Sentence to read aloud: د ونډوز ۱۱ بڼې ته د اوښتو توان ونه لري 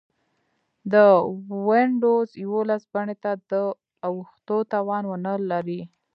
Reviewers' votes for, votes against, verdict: 0, 2, rejected